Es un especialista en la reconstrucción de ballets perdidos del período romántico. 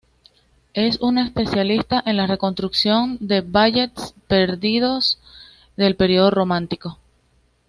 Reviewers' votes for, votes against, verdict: 2, 0, accepted